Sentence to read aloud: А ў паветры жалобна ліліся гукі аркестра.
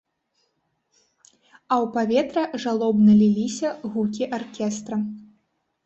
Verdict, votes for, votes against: accepted, 2, 0